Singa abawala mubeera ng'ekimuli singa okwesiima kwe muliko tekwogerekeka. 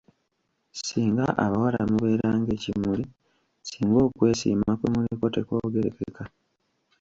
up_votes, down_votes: 1, 2